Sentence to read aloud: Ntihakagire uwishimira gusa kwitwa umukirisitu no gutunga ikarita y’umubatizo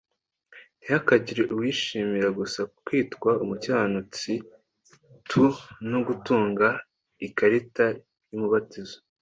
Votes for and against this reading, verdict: 1, 2, rejected